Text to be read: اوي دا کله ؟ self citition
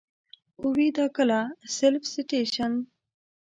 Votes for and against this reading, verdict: 1, 2, rejected